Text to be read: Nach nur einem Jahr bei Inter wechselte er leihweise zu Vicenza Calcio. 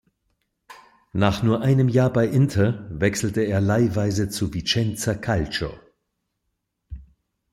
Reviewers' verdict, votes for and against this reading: accepted, 2, 0